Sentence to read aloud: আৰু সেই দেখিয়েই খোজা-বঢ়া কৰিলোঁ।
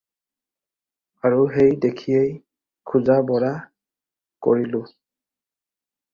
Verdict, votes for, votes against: accepted, 2, 0